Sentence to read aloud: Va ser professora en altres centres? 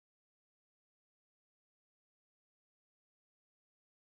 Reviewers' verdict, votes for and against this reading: rejected, 0, 2